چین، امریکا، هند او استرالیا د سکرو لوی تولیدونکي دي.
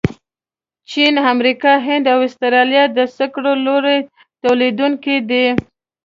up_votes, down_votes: 1, 2